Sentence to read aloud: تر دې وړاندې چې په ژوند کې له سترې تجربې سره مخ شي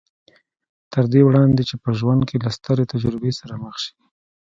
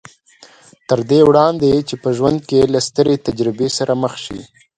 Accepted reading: second